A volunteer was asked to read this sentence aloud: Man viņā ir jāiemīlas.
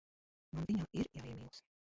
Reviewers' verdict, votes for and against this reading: rejected, 1, 2